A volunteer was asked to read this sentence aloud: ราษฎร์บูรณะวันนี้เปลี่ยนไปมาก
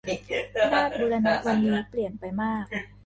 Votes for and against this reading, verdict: 0, 2, rejected